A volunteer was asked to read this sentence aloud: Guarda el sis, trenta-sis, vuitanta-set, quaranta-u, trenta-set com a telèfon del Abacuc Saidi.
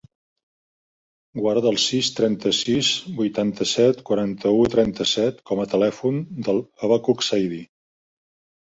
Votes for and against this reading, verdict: 2, 0, accepted